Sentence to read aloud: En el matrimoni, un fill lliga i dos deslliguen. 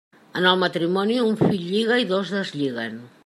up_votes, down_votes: 3, 0